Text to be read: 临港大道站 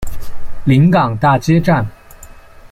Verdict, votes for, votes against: rejected, 0, 2